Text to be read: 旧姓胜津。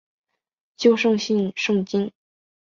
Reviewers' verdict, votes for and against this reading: accepted, 3, 0